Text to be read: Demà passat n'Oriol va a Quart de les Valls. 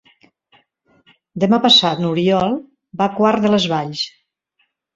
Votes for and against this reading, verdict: 3, 0, accepted